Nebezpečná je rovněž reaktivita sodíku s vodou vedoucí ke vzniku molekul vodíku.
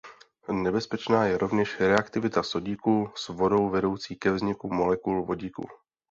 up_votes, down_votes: 2, 0